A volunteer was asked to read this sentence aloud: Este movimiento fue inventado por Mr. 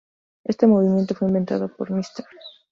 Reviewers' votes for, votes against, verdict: 2, 0, accepted